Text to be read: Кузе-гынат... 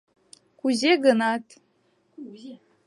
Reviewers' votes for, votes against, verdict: 0, 2, rejected